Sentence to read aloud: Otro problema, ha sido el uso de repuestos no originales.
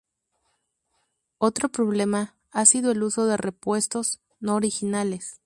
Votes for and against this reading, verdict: 0, 2, rejected